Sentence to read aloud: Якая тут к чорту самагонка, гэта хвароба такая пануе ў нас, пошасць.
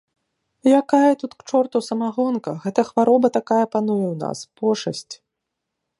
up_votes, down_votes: 2, 0